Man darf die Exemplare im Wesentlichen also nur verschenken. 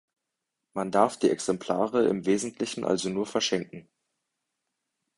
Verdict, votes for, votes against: accepted, 2, 0